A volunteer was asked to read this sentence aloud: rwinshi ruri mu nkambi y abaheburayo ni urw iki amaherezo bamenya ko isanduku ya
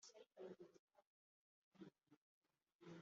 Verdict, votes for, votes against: rejected, 1, 2